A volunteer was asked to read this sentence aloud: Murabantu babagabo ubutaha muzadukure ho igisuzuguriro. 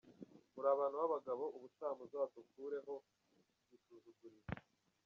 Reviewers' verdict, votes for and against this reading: rejected, 0, 2